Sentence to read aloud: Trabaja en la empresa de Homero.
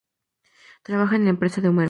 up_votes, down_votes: 4, 2